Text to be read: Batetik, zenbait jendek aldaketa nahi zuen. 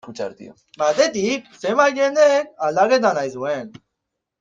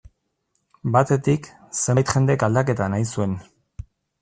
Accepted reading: second